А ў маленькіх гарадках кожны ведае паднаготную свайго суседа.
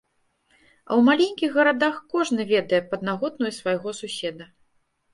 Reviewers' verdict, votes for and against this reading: rejected, 0, 2